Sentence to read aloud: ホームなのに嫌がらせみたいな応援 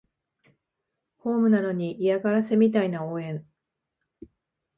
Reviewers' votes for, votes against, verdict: 2, 0, accepted